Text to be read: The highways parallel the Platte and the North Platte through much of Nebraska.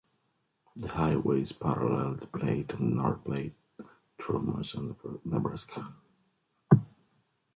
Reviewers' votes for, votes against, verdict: 2, 1, accepted